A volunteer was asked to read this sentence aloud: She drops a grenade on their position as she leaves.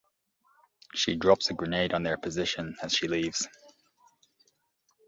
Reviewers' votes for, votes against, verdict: 2, 0, accepted